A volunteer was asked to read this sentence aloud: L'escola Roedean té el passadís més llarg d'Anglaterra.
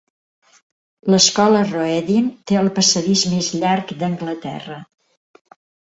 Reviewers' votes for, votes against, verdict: 2, 0, accepted